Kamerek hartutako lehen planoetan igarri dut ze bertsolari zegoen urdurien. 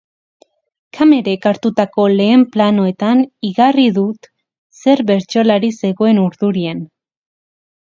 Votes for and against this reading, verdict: 2, 4, rejected